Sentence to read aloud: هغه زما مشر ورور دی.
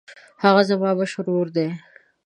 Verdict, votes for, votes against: accepted, 2, 0